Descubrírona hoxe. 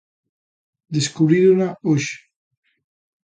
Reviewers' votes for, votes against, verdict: 2, 0, accepted